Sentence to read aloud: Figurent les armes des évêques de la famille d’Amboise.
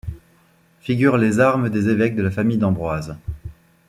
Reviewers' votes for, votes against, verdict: 1, 2, rejected